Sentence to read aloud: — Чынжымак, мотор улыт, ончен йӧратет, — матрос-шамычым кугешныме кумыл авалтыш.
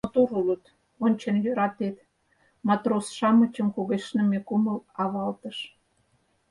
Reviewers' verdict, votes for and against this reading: rejected, 0, 4